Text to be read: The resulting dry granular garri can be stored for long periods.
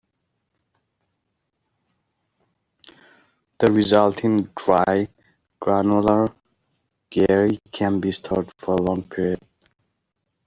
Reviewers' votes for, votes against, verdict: 1, 2, rejected